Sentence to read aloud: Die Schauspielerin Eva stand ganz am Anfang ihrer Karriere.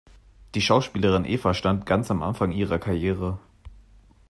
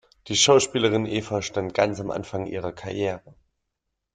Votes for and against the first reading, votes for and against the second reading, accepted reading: 2, 0, 0, 2, first